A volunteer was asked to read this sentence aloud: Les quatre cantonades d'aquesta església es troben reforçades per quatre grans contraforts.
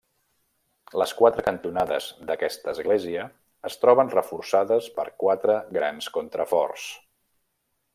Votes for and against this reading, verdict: 3, 0, accepted